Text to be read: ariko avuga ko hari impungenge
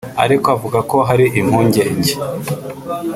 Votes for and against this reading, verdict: 1, 2, rejected